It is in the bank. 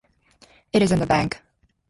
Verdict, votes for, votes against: accepted, 4, 0